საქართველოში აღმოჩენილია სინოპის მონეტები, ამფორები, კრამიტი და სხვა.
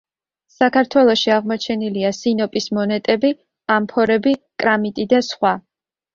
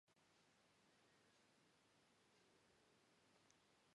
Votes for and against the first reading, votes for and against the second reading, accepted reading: 2, 0, 0, 2, first